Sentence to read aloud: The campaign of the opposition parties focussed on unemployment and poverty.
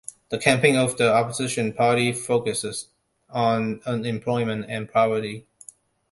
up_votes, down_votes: 0, 2